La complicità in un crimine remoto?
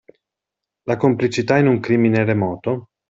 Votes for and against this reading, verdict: 2, 0, accepted